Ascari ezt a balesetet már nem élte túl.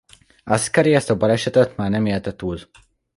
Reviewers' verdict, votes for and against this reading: accepted, 2, 0